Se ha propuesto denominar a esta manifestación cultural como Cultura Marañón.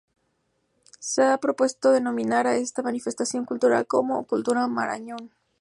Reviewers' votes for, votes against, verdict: 2, 0, accepted